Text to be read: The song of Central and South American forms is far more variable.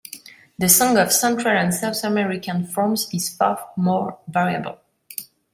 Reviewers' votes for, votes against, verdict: 0, 2, rejected